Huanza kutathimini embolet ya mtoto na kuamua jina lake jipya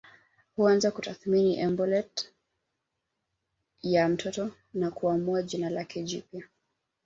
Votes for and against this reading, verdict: 2, 1, accepted